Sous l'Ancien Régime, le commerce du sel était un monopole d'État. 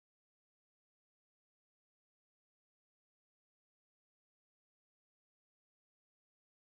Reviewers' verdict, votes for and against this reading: rejected, 0, 2